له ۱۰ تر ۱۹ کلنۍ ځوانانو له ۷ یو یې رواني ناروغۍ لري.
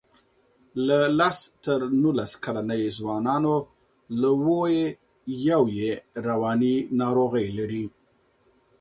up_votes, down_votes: 0, 2